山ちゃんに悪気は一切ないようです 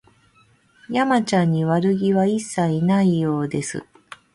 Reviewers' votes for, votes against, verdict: 2, 0, accepted